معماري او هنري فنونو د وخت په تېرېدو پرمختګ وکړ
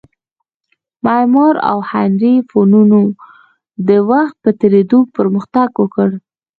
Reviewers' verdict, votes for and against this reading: rejected, 1, 2